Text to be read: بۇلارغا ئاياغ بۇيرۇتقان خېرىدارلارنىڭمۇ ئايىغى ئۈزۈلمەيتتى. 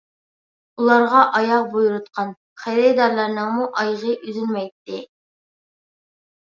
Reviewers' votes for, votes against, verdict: 2, 0, accepted